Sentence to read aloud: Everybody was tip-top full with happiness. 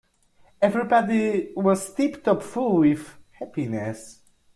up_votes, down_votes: 2, 0